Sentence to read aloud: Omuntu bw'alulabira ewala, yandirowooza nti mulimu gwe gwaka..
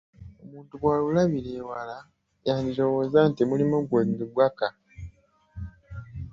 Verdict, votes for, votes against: accepted, 3, 2